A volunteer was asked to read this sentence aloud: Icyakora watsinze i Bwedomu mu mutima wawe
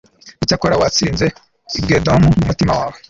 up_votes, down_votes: 1, 2